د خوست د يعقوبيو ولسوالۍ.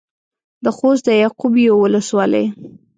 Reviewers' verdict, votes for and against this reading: accepted, 2, 0